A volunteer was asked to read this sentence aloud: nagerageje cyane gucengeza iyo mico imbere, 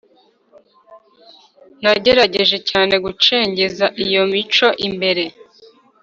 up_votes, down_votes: 2, 0